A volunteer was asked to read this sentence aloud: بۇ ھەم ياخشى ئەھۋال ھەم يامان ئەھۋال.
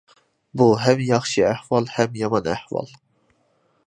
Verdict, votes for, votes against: accepted, 2, 0